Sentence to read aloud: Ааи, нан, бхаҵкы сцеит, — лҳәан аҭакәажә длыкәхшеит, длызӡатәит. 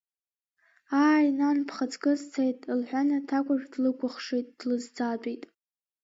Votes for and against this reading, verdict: 1, 2, rejected